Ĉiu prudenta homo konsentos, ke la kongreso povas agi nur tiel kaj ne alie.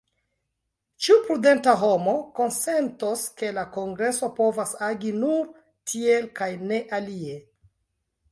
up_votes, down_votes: 0, 2